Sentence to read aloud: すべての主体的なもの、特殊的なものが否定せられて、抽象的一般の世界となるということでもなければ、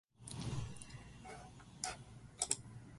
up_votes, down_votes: 0, 2